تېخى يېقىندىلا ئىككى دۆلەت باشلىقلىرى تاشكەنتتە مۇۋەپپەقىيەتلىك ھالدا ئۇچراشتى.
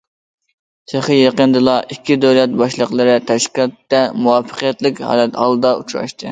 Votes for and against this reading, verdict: 1, 2, rejected